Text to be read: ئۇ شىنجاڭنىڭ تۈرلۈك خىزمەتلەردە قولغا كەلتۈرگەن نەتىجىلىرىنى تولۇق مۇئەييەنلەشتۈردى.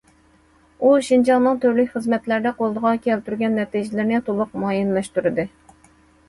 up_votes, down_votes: 2, 0